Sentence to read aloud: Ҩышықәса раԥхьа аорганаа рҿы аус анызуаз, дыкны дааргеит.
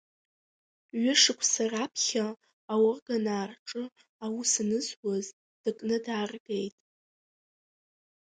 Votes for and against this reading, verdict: 1, 2, rejected